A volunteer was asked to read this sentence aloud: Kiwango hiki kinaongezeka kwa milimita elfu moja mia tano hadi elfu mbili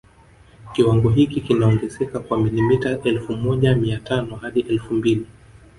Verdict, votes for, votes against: accepted, 3, 1